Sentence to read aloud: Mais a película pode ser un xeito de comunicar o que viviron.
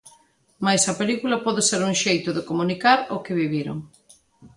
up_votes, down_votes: 2, 0